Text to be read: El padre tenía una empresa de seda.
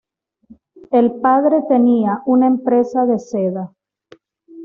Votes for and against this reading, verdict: 2, 0, accepted